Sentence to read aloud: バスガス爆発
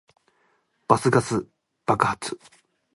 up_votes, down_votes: 2, 0